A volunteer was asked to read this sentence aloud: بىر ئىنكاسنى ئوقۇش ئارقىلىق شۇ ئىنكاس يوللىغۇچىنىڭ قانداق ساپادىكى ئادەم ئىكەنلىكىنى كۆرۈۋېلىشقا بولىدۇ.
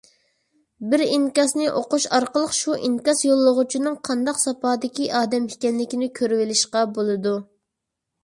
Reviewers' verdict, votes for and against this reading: accepted, 2, 0